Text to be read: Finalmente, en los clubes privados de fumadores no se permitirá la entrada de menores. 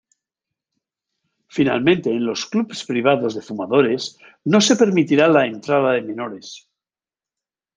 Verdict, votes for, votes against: rejected, 1, 2